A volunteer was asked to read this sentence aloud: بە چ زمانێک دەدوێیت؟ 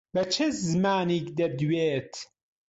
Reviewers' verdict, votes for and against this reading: rejected, 5, 6